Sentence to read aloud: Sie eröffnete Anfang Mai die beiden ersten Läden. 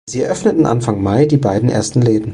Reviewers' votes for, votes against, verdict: 0, 2, rejected